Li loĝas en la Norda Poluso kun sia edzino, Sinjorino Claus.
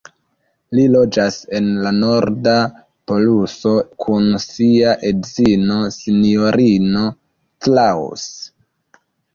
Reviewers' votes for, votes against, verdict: 2, 1, accepted